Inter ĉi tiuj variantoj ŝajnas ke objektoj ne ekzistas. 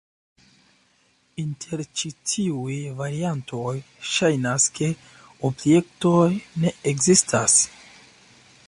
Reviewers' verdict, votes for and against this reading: accepted, 2, 0